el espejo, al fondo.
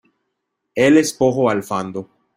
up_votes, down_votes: 0, 2